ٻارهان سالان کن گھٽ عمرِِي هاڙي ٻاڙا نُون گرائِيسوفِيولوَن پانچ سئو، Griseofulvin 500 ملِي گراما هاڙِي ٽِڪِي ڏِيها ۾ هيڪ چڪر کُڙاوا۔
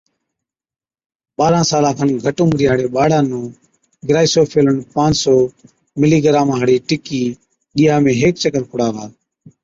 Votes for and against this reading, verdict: 0, 2, rejected